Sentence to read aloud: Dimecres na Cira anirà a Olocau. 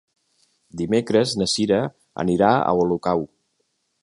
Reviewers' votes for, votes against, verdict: 2, 0, accepted